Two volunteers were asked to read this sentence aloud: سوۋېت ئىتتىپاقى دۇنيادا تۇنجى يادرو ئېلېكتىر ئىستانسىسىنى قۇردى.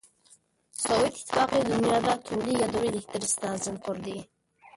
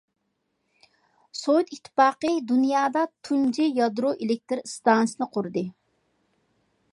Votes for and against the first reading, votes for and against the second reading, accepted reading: 1, 2, 2, 0, second